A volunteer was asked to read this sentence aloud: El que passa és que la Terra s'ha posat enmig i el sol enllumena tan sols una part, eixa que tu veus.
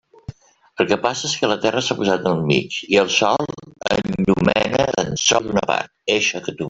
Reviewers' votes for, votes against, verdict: 0, 2, rejected